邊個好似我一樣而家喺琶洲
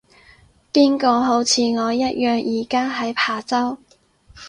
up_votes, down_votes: 6, 0